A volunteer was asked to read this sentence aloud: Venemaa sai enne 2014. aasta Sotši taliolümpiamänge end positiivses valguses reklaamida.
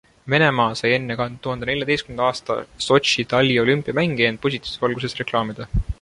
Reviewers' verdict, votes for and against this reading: rejected, 0, 2